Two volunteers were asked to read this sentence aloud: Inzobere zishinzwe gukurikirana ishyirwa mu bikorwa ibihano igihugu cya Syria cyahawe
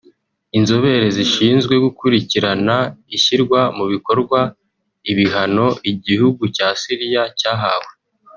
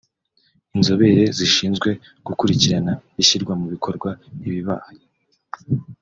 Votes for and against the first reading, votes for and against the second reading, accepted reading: 2, 0, 1, 3, first